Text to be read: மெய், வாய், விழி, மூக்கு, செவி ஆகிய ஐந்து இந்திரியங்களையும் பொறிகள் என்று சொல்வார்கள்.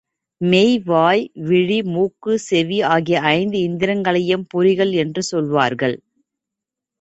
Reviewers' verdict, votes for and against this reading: accepted, 2, 0